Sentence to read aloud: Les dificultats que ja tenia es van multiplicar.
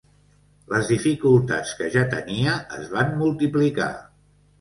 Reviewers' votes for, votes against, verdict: 3, 0, accepted